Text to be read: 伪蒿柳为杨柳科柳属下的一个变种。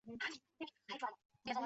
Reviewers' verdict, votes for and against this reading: rejected, 0, 3